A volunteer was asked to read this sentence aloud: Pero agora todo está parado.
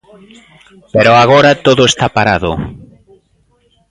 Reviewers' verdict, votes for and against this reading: rejected, 1, 2